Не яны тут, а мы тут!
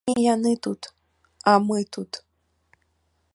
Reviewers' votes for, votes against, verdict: 0, 2, rejected